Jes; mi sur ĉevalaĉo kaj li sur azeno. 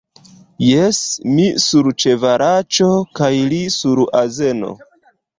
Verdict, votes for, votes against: rejected, 0, 2